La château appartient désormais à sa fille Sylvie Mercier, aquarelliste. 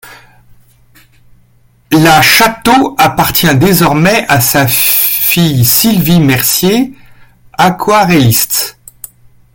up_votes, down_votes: 1, 2